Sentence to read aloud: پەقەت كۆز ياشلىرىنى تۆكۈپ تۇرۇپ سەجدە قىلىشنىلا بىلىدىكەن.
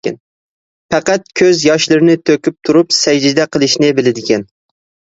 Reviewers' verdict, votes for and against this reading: rejected, 0, 2